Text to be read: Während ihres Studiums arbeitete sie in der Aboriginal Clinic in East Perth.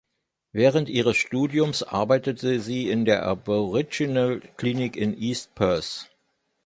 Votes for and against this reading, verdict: 2, 0, accepted